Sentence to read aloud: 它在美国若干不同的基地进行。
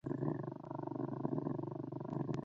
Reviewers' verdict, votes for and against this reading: rejected, 1, 2